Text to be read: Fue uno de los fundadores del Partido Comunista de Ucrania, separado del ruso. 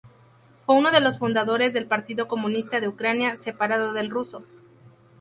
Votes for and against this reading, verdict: 2, 0, accepted